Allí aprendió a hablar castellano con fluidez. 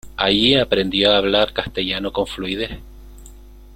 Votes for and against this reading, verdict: 0, 2, rejected